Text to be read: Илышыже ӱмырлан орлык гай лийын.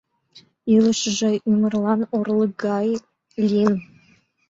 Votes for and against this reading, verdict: 2, 0, accepted